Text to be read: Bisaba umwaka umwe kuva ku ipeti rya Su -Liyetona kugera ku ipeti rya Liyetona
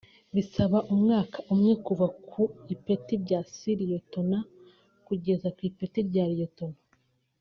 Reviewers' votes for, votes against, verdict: 2, 0, accepted